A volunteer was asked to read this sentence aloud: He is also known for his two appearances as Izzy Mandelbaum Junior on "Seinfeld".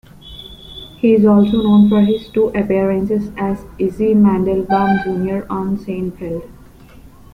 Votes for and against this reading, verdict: 0, 2, rejected